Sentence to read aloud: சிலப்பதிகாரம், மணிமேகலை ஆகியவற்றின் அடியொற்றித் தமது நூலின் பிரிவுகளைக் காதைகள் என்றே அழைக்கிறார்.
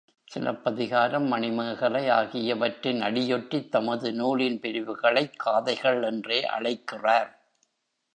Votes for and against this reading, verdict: 2, 0, accepted